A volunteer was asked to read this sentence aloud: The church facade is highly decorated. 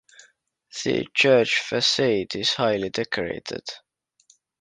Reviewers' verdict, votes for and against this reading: accepted, 2, 0